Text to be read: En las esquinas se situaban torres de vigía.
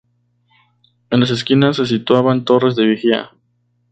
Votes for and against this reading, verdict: 2, 0, accepted